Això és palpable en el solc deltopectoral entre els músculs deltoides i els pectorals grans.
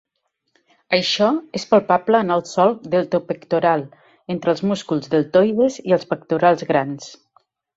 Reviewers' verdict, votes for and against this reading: accepted, 3, 0